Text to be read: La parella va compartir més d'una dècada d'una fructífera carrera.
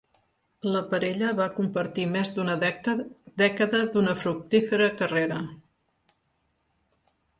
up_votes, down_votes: 1, 3